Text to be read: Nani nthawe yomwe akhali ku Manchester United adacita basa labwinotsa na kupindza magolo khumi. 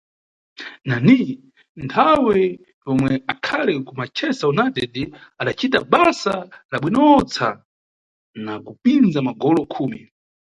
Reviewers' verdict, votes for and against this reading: rejected, 0, 2